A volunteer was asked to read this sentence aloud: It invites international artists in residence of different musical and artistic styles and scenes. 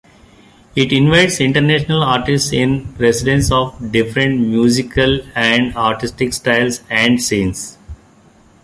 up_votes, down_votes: 2, 1